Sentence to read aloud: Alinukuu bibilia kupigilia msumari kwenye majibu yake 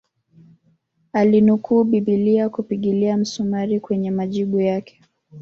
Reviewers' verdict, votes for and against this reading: accepted, 2, 0